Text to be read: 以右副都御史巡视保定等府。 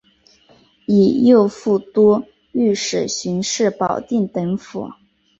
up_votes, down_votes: 2, 0